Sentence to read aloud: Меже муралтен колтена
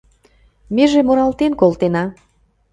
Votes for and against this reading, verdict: 2, 0, accepted